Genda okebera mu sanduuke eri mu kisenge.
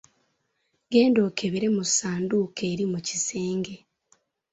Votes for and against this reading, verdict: 2, 1, accepted